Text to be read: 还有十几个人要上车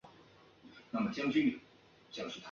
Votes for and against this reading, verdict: 0, 2, rejected